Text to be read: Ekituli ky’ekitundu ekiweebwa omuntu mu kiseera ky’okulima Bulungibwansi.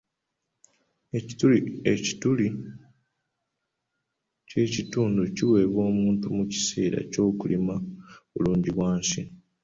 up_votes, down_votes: 0, 2